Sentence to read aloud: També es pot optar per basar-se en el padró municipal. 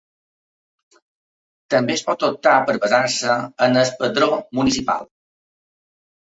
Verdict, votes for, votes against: accepted, 3, 2